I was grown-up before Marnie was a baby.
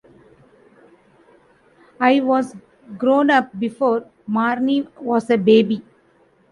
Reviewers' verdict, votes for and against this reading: accepted, 2, 1